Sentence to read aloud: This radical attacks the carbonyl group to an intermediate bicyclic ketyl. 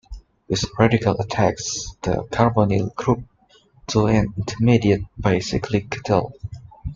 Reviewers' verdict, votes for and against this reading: accepted, 2, 0